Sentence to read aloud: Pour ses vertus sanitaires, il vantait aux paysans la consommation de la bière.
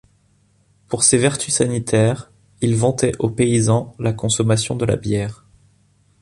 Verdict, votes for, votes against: accepted, 2, 0